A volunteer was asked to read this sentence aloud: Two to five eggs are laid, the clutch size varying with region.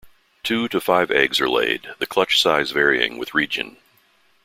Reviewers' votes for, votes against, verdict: 2, 0, accepted